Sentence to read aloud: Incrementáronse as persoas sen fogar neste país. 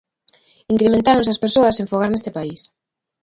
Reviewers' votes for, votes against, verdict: 2, 0, accepted